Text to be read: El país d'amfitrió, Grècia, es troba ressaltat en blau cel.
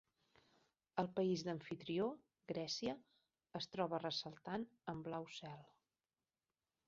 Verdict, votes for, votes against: accepted, 2, 0